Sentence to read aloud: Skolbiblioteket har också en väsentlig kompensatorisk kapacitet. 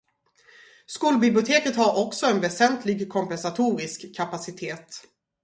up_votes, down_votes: 2, 2